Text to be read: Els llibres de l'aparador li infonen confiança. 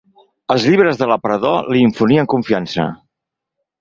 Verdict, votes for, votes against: rejected, 2, 4